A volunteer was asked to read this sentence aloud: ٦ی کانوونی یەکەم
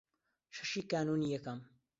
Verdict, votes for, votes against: rejected, 0, 2